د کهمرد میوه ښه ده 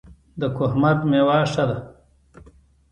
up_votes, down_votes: 2, 0